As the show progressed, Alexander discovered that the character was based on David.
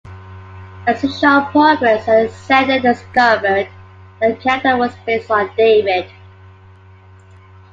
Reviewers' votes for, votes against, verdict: 0, 2, rejected